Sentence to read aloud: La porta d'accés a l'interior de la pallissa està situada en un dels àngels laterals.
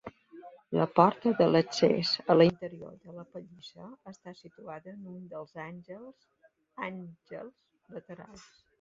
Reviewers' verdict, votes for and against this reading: rejected, 1, 2